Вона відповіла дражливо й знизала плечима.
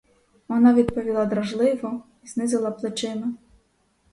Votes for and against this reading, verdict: 2, 4, rejected